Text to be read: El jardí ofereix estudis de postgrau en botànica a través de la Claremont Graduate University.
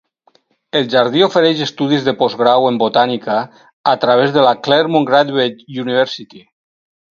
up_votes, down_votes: 2, 2